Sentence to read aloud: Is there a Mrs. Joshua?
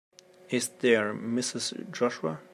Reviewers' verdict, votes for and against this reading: rejected, 0, 2